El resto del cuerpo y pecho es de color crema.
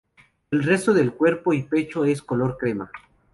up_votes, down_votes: 0, 2